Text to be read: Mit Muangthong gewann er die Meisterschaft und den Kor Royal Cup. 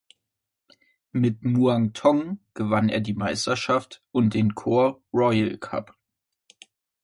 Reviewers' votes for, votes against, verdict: 2, 0, accepted